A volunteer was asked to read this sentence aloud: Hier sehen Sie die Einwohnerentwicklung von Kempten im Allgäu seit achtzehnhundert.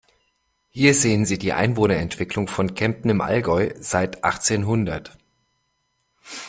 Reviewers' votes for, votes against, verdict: 2, 0, accepted